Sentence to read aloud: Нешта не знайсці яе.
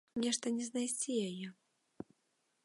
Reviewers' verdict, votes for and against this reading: accepted, 2, 0